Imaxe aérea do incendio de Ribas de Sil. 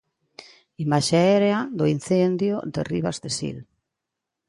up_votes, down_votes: 2, 0